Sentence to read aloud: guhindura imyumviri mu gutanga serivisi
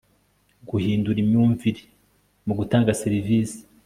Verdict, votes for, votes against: accepted, 2, 0